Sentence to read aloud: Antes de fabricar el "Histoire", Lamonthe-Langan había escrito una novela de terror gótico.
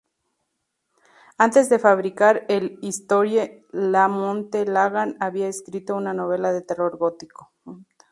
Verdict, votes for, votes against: rejected, 0, 6